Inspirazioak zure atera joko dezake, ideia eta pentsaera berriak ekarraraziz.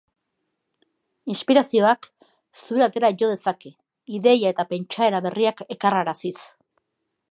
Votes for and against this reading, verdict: 0, 2, rejected